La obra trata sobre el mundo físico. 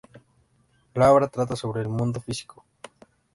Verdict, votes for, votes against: accepted, 2, 0